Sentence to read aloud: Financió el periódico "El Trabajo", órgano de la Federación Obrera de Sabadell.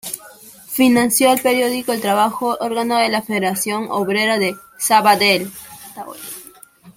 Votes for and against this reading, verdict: 2, 0, accepted